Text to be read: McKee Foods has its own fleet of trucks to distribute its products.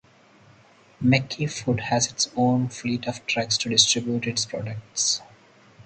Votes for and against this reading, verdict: 2, 2, rejected